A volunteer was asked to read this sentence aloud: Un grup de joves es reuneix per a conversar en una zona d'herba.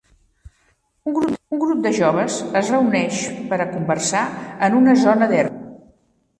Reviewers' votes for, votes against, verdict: 0, 2, rejected